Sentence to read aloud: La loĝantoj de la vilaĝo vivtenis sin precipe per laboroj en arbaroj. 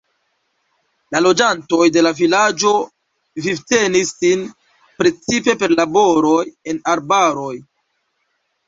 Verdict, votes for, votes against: accepted, 2, 0